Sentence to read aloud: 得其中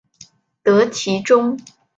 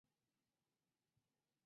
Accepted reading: first